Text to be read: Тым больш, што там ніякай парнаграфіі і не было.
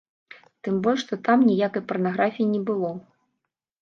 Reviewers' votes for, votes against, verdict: 1, 2, rejected